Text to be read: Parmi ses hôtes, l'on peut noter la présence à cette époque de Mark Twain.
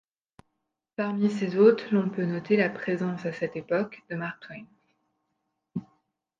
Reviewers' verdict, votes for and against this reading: accepted, 2, 0